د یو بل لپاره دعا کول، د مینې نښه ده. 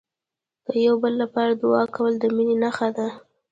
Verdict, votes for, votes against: rejected, 0, 2